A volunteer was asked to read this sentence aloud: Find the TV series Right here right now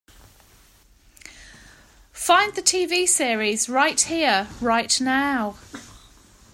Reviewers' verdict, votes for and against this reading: accepted, 2, 0